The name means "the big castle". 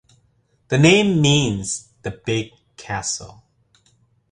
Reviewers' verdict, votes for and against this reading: accepted, 2, 0